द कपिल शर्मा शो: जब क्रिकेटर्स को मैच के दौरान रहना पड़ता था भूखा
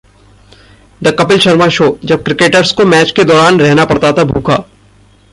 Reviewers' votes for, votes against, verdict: 2, 0, accepted